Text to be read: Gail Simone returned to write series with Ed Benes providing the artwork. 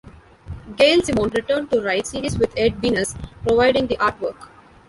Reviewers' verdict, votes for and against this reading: rejected, 0, 2